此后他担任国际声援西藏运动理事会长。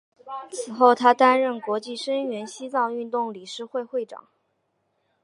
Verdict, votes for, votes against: rejected, 1, 2